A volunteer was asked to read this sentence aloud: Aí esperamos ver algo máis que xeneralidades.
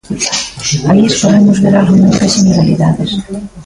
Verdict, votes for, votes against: rejected, 1, 2